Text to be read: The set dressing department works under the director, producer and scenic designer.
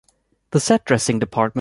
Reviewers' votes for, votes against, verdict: 0, 2, rejected